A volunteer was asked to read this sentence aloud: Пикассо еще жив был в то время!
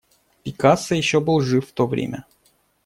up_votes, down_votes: 0, 2